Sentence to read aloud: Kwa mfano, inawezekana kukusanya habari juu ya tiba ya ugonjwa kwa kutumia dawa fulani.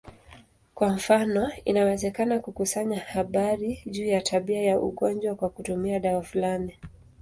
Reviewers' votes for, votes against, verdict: 0, 2, rejected